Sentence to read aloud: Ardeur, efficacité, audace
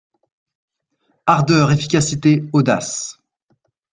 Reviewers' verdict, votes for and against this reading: accepted, 2, 0